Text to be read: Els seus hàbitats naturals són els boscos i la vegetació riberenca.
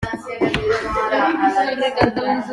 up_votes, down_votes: 0, 2